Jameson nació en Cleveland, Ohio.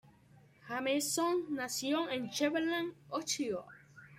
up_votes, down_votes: 1, 2